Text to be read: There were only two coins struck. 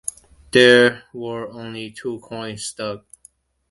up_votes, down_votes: 1, 2